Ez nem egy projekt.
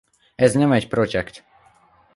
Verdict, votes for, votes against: rejected, 0, 2